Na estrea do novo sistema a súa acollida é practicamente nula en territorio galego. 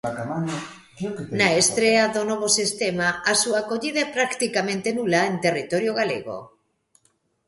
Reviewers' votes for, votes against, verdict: 1, 2, rejected